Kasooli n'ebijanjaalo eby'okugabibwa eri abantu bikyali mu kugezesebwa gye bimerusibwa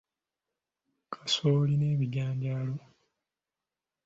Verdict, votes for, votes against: rejected, 0, 2